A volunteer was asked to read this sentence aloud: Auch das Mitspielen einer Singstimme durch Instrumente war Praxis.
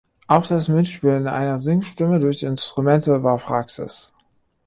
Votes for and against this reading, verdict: 0, 2, rejected